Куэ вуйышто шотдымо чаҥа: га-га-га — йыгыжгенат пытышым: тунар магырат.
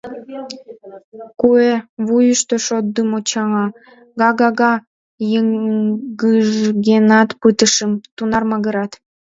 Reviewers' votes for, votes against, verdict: 1, 2, rejected